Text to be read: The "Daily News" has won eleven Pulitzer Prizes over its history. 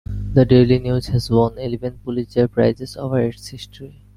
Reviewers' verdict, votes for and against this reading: accepted, 2, 0